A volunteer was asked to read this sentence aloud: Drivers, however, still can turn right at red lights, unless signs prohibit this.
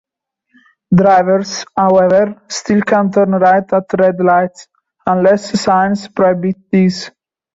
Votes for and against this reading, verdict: 2, 0, accepted